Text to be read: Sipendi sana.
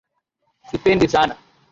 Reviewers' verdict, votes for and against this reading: accepted, 2, 0